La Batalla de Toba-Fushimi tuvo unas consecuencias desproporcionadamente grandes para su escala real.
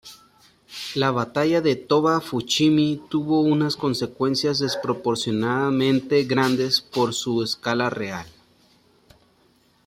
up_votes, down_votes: 0, 2